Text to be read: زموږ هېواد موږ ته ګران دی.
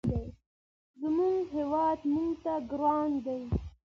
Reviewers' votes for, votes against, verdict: 2, 0, accepted